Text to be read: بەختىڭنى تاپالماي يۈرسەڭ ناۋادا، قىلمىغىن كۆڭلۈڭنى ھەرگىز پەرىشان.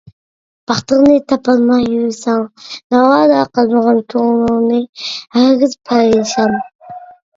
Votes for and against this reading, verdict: 0, 2, rejected